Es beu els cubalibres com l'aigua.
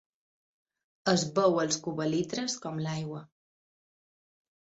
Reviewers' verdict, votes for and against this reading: rejected, 0, 2